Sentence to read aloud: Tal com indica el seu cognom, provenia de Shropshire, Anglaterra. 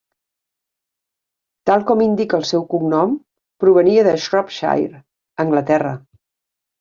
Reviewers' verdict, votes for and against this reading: accepted, 3, 0